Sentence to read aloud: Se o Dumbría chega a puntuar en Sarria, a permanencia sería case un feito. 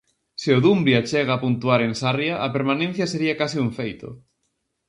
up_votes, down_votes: 0, 2